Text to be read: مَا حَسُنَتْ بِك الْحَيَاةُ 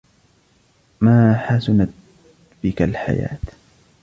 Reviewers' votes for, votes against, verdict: 1, 2, rejected